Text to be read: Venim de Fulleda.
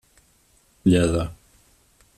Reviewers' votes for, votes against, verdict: 1, 2, rejected